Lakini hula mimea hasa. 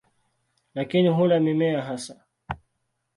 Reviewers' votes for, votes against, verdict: 2, 0, accepted